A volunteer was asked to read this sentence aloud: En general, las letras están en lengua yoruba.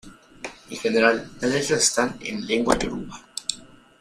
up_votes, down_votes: 2, 0